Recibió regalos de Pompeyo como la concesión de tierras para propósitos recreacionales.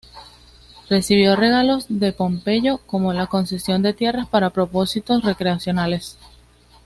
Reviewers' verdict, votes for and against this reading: accepted, 2, 0